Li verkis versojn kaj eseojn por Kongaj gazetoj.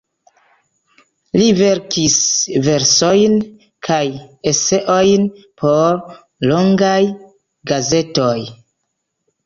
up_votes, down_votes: 1, 2